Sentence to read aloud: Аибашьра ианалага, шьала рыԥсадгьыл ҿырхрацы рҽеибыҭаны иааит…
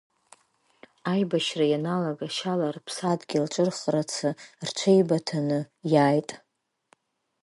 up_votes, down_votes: 2, 0